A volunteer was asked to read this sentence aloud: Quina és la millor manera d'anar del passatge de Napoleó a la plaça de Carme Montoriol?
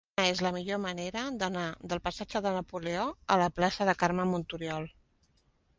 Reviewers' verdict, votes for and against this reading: rejected, 0, 2